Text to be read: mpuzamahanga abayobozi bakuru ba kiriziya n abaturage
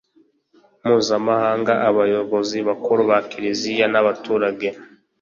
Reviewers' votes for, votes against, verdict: 2, 0, accepted